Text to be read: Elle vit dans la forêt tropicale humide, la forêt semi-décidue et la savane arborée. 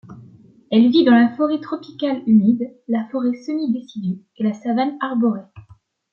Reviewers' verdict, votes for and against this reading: accepted, 2, 0